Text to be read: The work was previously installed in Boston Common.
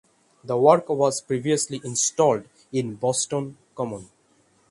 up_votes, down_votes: 6, 0